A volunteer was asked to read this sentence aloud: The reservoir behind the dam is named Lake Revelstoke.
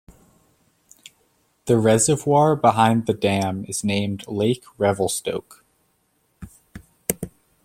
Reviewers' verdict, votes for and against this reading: accepted, 2, 0